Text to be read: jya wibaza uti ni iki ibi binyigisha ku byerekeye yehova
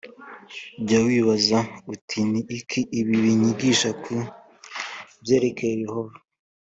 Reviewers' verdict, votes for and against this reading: accepted, 2, 0